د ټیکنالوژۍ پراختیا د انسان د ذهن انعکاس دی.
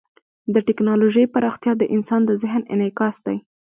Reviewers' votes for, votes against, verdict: 2, 0, accepted